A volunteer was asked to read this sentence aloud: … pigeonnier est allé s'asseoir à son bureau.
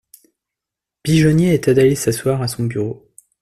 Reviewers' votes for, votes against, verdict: 0, 2, rejected